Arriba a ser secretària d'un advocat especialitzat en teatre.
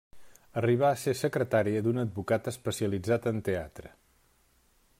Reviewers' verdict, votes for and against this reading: rejected, 1, 2